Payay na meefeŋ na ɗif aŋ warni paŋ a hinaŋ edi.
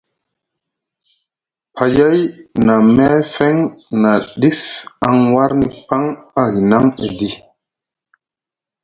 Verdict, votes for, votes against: accepted, 2, 0